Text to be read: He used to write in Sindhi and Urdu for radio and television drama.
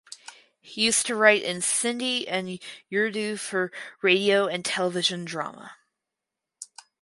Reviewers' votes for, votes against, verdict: 0, 2, rejected